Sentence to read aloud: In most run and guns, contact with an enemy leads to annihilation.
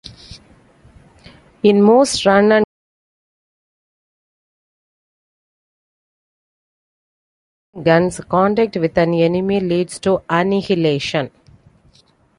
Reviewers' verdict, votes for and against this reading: rejected, 1, 2